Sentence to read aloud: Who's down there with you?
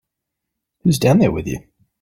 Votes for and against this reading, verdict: 2, 0, accepted